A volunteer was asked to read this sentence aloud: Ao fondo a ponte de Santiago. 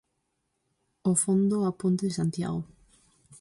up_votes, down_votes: 4, 0